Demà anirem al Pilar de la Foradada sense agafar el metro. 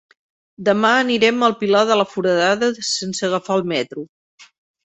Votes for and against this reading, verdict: 1, 2, rejected